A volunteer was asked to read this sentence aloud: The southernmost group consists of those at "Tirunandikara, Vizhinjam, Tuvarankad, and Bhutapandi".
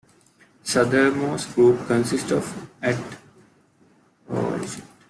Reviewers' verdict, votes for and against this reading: rejected, 0, 2